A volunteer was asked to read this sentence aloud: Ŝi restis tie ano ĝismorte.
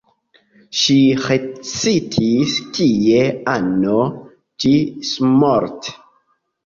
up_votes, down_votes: 2, 0